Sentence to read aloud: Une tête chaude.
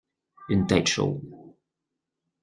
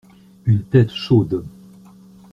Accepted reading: second